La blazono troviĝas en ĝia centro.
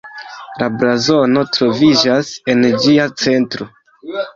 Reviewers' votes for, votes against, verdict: 2, 1, accepted